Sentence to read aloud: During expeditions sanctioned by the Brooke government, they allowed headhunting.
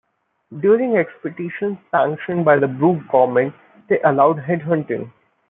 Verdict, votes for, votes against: rejected, 1, 2